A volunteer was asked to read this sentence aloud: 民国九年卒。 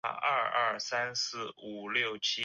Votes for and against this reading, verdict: 1, 2, rejected